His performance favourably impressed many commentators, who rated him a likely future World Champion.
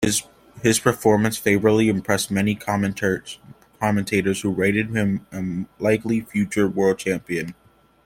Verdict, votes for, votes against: rejected, 1, 2